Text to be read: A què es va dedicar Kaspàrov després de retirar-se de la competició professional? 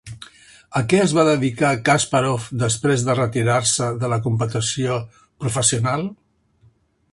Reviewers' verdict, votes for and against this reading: rejected, 2, 3